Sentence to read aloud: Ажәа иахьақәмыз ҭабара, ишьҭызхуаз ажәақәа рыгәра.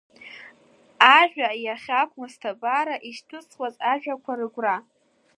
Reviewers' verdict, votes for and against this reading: accepted, 3, 0